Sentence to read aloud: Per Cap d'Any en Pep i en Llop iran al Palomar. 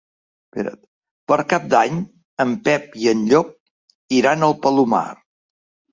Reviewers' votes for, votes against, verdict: 0, 2, rejected